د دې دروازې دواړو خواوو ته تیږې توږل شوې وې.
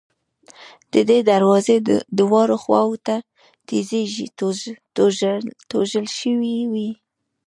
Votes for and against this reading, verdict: 2, 0, accepted